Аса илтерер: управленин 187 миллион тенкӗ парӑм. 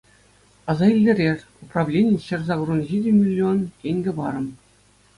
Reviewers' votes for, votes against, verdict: 0, 2, rejected